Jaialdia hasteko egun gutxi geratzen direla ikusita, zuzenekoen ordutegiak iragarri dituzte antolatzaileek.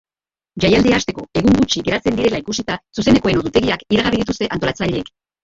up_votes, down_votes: 0, 2